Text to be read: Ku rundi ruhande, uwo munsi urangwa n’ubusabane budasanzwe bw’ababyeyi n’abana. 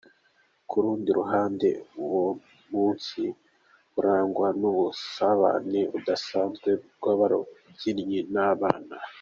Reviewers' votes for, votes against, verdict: 0, 2, rejected